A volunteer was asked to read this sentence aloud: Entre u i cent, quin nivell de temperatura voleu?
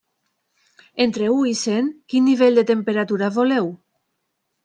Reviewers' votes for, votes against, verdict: 3, 0, accepted